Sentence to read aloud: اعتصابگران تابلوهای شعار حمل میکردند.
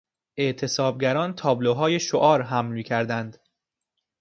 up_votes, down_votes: 2, 0